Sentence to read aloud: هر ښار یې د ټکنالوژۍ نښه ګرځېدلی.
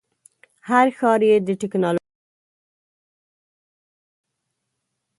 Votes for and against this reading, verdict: 1, 2, rejected